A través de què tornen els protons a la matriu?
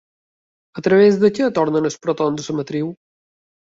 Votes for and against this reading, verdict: 2, 1, accepted